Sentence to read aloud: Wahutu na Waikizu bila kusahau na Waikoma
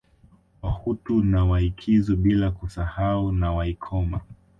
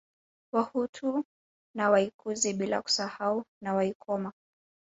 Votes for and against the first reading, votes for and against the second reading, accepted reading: 2, 0, 2, 3, first